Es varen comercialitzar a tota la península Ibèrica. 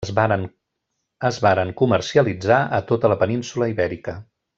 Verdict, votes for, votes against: rejected, 0, 2